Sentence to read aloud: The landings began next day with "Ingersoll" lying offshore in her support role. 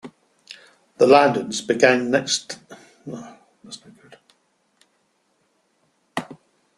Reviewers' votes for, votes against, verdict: 0, 2, rejected